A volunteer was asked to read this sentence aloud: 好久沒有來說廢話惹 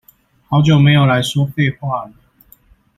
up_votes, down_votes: 0, 2